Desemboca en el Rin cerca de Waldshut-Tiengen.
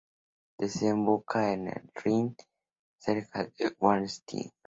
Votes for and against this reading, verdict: 0, 2, rejected